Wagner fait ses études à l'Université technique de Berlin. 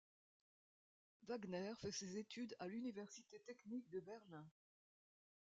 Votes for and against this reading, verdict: 2, 0, accepted